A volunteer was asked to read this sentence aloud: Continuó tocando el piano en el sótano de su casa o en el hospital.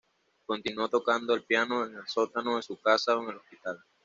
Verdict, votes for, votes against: accepted, 2, 0